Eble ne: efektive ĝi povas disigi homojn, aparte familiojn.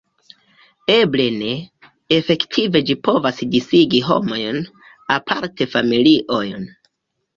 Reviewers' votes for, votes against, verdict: 3, 0, accepted